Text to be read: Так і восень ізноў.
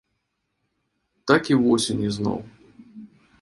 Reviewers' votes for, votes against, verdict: 2, 0, accepted